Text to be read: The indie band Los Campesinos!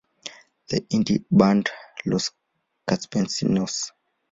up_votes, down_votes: 2, 0